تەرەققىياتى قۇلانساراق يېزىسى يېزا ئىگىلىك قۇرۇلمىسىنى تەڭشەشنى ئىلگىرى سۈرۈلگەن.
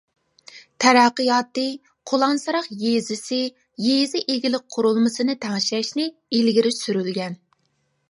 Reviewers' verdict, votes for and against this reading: accepted, 2, 0